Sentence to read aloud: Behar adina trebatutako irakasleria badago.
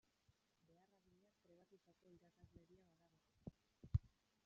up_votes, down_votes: 1, 2